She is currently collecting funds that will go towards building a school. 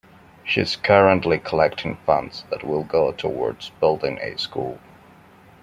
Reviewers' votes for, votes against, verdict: 2, 0, accepted